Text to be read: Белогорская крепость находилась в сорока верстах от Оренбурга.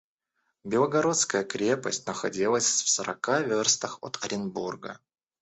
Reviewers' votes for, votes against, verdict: 0, 2, rejected